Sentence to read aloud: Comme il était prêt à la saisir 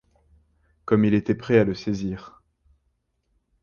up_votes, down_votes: 1, 2